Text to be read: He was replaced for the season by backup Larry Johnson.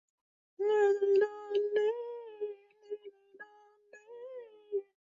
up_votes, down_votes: 0, 2